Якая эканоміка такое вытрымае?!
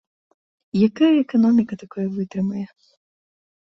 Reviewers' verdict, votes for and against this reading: accepted, 2, 0